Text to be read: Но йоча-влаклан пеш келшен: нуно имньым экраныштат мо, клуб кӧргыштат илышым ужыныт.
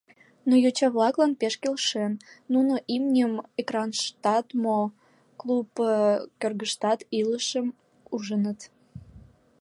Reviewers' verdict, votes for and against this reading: accepted, 2, 0